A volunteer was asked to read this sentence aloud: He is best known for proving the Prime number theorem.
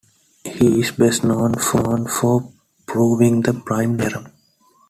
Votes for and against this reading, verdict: 0, 2, rejected